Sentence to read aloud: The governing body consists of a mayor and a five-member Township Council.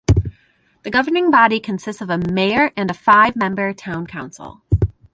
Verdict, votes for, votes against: rejected, 0, 2